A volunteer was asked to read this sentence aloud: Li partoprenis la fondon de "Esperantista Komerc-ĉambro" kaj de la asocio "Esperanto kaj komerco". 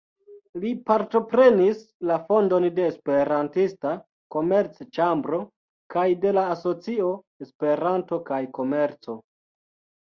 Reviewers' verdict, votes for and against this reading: rejected, 1, 2